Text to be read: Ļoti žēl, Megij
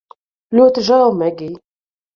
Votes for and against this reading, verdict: 2, 0, accepted